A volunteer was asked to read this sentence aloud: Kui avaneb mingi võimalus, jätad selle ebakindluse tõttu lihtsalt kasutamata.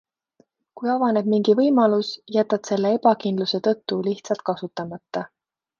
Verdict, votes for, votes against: accepted, 2, 0